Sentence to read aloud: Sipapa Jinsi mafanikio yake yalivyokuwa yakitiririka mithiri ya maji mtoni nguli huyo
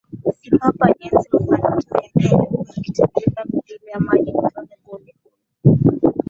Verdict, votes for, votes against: rejected, 5, 6